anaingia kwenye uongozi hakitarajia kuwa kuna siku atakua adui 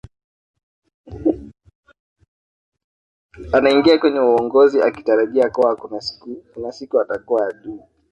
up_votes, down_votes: 0, 2